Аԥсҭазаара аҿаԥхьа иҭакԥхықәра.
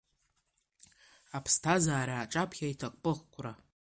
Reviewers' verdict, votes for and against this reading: accepted, 2, 1